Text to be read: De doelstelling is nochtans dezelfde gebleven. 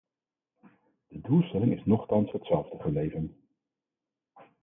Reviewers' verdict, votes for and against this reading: rejected, 2, 4